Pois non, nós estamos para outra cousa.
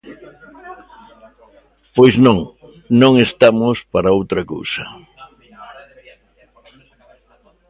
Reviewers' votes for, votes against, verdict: 0, 2, rejected